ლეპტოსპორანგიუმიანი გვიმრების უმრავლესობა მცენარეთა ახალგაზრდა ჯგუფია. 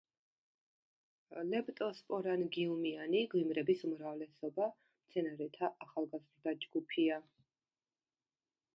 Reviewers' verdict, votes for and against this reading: rejected, 1, 2